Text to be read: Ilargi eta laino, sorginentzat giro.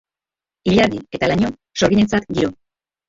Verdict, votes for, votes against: rejected, 1, 3